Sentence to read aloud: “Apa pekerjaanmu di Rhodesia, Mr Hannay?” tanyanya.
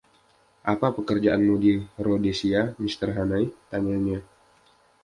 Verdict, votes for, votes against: accepted, 2, 0